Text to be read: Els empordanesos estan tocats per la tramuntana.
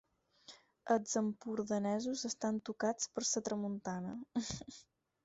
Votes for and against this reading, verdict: 2, 4, rejected